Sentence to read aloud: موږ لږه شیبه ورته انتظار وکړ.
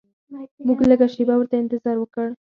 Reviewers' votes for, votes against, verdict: 0, 4, rejected